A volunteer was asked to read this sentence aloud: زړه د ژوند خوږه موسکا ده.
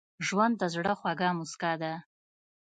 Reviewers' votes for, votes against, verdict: 1, 2, rejected